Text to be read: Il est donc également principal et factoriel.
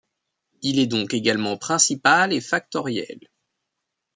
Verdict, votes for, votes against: accepted, 2, 1